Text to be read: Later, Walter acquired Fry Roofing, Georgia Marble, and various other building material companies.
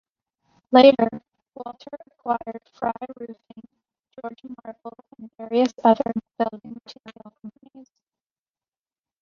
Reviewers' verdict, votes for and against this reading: rejected, 0, 2